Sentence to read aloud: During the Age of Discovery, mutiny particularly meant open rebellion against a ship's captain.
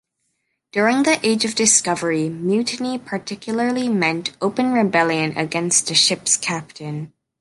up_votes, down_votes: 3, 0